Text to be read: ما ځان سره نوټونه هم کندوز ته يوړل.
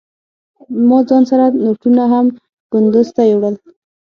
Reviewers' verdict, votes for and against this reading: rejected, 3, 6